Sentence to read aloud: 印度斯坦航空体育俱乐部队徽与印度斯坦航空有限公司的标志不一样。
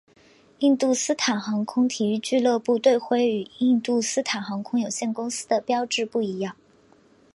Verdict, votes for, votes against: accepted, 2, 0